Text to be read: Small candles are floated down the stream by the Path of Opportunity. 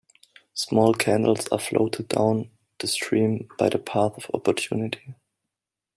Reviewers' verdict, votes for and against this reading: rejected, 1, 2